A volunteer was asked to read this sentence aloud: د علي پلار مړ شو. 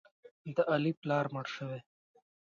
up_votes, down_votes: 1, 2